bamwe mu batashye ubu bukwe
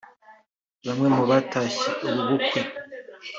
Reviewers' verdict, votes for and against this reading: rejected, 1, 2